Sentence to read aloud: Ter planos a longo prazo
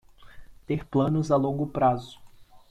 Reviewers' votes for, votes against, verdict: 2, 0, accepted